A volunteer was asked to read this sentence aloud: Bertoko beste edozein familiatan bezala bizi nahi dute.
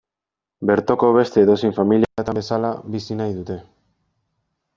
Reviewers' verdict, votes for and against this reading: rejected, 1, 2